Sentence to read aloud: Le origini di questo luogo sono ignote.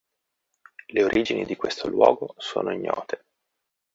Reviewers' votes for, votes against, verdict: 2, 1, accepted